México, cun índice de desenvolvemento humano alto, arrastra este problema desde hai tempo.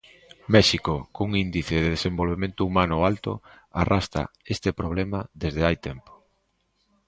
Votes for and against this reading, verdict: 2, 0, accepted